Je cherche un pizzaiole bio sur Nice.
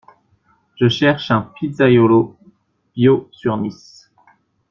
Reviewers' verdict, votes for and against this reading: rejected, 1, 2